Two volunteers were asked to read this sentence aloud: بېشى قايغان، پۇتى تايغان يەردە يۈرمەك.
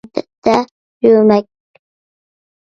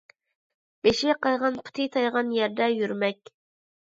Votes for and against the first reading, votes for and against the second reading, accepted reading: 0, 2, 2, 0, second